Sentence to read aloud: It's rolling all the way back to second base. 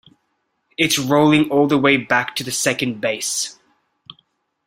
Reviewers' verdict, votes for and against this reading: rejected, 0, 2